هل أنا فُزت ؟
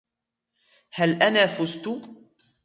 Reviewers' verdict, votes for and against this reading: rejected, 1, 2